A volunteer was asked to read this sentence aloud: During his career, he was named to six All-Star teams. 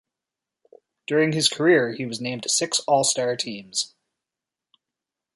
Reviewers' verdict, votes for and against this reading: rejected, 1, 2